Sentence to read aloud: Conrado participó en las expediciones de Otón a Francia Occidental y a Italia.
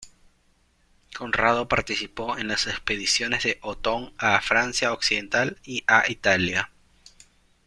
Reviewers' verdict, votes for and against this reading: rejected, 0, 2